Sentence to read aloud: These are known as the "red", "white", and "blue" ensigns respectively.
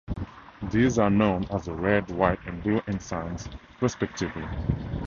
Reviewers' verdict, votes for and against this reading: accepted, 2, 0